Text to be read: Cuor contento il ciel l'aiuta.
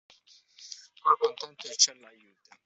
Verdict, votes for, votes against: rejected, 0, 2